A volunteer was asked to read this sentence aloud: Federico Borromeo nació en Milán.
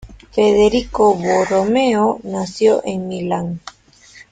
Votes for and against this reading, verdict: 2, 1, accepted